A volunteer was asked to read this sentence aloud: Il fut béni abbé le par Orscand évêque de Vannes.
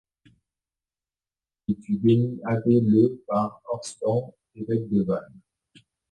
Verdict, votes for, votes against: rejected, 1, 2